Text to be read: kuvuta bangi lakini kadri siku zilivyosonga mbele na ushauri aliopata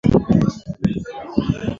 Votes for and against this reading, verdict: 0, 2, rejected